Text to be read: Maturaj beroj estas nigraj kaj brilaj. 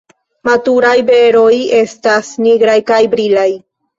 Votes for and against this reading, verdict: 2, 0, accepted